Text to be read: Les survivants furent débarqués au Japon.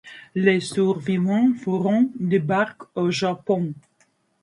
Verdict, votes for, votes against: rejected, 0, 2